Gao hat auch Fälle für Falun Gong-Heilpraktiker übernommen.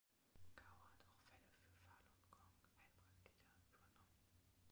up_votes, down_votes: 1, 2